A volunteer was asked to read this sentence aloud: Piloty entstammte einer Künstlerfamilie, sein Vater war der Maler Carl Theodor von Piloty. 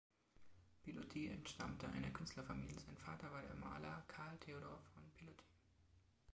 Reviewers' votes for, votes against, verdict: 2, 3, rejected